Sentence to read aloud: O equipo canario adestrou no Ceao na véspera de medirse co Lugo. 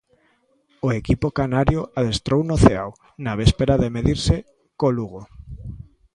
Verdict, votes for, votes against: accepted, 2, 0